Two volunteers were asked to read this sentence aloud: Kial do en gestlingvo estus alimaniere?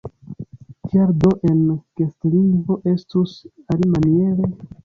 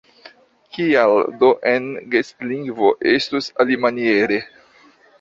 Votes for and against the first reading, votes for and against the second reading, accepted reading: 0, 2, 2, 0, second